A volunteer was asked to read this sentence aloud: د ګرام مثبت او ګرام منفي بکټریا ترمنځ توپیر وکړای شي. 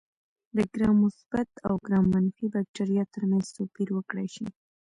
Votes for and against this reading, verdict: 1, 2, rejected